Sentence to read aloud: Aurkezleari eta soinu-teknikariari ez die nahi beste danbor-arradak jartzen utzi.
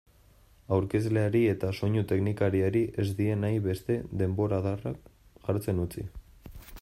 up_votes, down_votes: 1, 2